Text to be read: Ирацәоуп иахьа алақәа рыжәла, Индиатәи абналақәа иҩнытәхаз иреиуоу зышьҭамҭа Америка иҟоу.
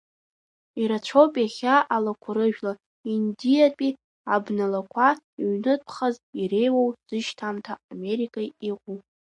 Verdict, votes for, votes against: rejected, 1, 2